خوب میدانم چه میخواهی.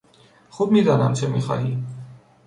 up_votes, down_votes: 3, 0